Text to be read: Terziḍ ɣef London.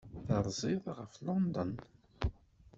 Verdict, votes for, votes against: rejected, 1, 2